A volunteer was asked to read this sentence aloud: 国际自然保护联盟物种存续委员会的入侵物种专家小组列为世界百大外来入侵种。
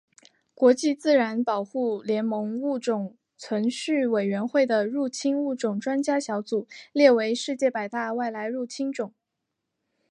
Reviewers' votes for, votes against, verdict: 3, 0, accepted